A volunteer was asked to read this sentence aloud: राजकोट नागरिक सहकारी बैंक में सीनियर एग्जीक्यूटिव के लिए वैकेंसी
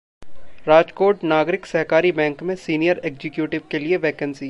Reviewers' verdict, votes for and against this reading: accepted, 2, 0